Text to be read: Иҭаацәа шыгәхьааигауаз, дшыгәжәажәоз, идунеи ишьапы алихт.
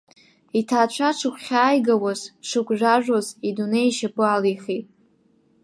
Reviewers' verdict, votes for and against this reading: rejected, 1, 2